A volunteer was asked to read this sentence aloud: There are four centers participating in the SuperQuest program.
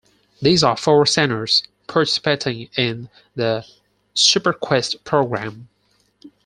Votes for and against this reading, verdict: 0, 4, rejected